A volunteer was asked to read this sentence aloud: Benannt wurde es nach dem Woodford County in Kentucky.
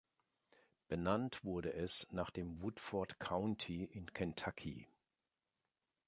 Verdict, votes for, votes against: accepted, 2, 0